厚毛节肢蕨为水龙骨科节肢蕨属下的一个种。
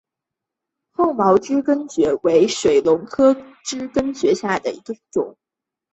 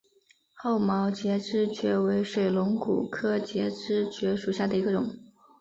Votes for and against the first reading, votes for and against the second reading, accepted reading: 1, 2, 2, 0, second